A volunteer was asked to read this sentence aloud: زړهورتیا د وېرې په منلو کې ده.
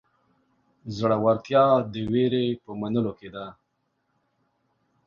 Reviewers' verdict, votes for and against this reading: accepted, 2, 0